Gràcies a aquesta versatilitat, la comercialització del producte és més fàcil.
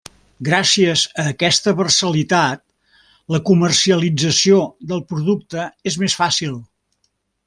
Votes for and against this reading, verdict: 0, 2, rejected